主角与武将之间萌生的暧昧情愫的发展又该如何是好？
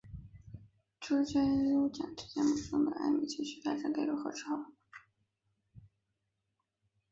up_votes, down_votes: 3, 2